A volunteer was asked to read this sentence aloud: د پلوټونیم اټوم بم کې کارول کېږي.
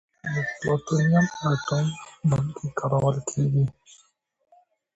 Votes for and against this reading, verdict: 1, 2, rejected